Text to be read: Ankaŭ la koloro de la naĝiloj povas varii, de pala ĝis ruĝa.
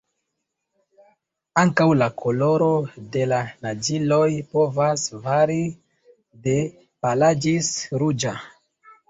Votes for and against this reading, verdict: 1, 2, rejected